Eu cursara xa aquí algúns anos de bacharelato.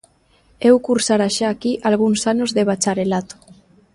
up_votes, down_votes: 2, 0